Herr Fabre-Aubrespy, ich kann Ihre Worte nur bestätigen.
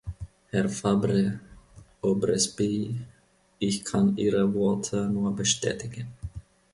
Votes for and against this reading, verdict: 2, 0, accepted